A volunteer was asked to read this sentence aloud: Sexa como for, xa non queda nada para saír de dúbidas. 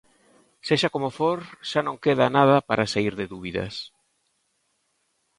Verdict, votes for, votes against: accepted, 2, 0